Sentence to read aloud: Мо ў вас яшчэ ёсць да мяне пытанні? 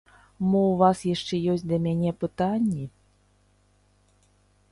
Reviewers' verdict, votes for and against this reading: accepted, 2, 0